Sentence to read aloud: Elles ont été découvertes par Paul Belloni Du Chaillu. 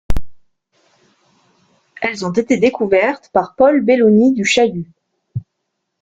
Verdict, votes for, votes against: rejected, 0, 2